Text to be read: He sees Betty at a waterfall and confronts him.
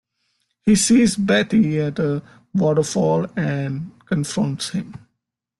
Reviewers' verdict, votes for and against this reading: accepted, 2, 1